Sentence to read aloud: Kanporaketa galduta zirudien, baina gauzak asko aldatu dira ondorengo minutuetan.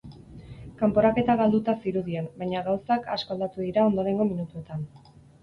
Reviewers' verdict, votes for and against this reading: accepted, 6, 0